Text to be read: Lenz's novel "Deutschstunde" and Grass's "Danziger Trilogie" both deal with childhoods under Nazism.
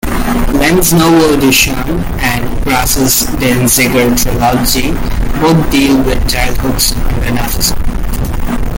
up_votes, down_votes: 0, 2